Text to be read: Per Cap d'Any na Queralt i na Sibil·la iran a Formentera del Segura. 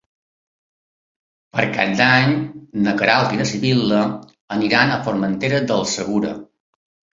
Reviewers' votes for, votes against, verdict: 0, 2, rejected